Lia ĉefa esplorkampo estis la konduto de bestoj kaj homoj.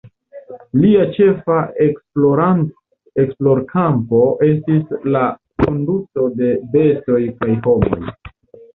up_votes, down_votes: 1, 2